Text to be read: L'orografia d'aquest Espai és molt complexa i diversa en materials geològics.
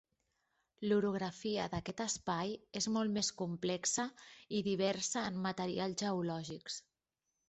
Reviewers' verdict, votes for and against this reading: rejected, 1, 2